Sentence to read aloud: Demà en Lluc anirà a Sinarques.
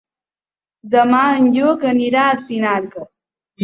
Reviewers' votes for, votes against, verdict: 2, 1, accepted